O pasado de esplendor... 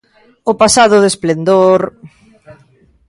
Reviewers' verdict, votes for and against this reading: accepted, 2, 0